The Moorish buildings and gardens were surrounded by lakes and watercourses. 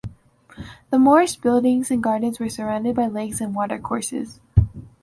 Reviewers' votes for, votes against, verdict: 4, 0, accepted